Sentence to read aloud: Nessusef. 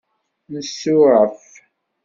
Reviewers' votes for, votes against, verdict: 1, 2, rejected